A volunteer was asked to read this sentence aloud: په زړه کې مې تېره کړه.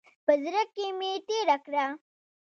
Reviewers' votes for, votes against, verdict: 2, 1, accepted